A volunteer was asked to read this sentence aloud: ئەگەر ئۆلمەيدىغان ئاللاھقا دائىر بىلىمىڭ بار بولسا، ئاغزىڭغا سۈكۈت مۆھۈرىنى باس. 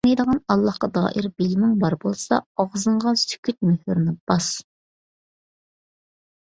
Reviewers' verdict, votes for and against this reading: rejected, 0, 2